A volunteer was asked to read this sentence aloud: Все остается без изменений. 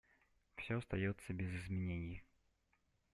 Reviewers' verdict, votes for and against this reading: accepted, 2, 0